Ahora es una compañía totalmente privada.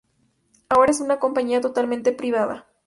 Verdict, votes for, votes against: accepted, 2, 0